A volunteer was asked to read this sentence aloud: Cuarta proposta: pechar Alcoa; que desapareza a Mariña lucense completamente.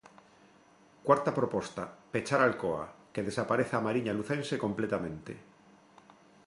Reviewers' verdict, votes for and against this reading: accepted, 2, 0